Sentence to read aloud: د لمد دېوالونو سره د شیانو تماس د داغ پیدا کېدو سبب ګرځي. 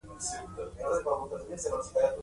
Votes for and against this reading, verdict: 1, 2, rejected